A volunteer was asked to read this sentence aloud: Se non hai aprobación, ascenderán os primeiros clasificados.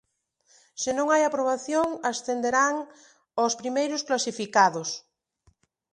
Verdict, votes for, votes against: accepted, 2, 0